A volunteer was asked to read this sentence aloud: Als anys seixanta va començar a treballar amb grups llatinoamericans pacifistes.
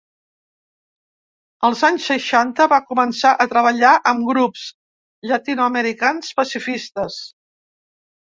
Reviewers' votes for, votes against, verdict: 2, 0, accepted